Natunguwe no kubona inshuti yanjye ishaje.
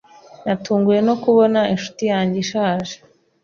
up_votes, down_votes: 3, 0